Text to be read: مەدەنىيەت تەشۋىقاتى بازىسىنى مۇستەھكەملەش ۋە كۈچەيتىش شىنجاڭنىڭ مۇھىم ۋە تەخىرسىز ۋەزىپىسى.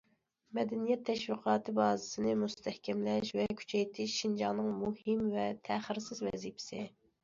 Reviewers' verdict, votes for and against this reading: accepted, 2, 0